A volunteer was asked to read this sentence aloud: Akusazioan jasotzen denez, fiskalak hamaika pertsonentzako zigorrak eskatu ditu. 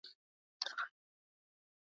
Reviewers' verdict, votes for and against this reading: rejected, 0, 2